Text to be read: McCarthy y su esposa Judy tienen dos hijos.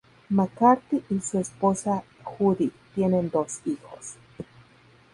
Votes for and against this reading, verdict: 0, 2, rejected